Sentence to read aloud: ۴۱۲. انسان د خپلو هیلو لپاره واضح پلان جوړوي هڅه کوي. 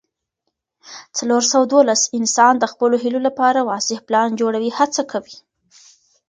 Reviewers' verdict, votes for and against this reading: rejected, 0, 2